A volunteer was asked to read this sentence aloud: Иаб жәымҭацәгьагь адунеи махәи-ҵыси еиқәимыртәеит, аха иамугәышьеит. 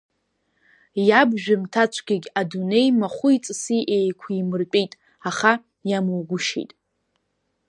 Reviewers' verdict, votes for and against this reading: rejected, 0, 2